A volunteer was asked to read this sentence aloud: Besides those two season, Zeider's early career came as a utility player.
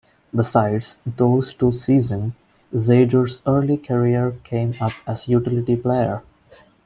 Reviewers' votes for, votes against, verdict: 2, 3, rejected